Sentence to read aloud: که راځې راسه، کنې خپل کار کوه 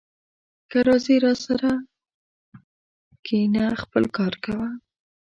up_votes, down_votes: 1, 2